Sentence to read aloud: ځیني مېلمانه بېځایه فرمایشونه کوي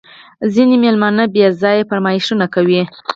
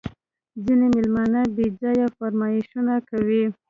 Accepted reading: second